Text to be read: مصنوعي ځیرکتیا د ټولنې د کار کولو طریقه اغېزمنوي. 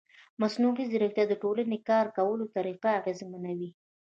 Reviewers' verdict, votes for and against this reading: accepted, 2, 1